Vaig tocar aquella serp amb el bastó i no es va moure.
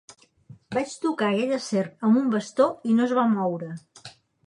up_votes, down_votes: 1, 3